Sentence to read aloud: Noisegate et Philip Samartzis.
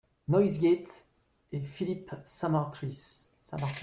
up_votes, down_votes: 0, 2